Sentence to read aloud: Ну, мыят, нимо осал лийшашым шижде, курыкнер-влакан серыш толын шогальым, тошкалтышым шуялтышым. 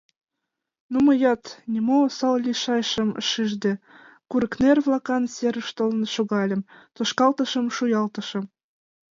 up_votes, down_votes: 2, 0